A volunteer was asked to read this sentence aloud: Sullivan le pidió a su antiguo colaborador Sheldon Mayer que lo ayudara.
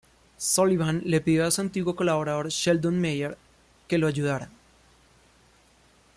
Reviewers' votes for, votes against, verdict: 2, 0, accepted